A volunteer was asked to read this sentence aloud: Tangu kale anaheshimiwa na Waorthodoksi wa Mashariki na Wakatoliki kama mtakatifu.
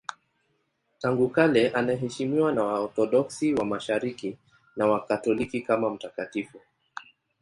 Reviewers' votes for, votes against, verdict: 5, 0, accepted